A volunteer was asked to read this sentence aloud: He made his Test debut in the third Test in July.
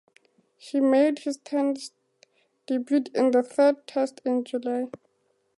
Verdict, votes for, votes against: accepted, 2, 0